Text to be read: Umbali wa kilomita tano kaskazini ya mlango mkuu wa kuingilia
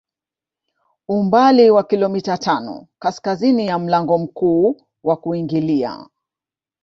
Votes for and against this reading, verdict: 2, 1, accepted